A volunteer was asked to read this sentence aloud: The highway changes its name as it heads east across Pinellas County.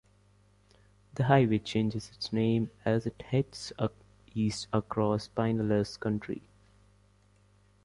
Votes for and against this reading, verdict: 0, 2, rejected